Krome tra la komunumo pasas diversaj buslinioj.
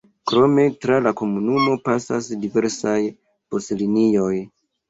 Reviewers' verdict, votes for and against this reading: accepted, 2, 1